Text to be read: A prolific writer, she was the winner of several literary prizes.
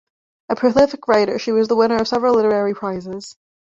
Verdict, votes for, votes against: rejected, 1, 2